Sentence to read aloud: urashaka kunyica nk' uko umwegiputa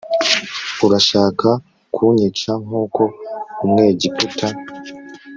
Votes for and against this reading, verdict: 3, 0, accepted